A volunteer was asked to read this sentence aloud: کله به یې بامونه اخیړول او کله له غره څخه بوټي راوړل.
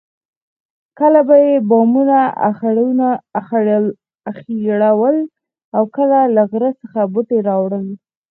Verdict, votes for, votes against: rejected, 0, 4